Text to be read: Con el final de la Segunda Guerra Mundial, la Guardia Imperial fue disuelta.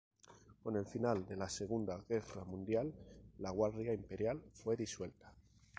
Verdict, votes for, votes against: rejected, 2, 2